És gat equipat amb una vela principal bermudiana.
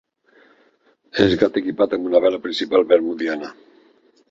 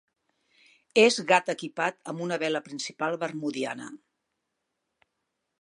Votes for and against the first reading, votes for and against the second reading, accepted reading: 1, 2, 6, 0, second